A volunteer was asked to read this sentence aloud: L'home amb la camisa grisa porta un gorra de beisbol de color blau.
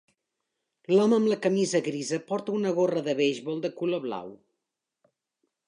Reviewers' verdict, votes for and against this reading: accepted, 2, 1